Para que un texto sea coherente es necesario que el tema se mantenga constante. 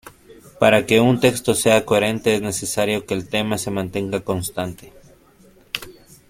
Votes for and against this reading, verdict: 2, 0, accepted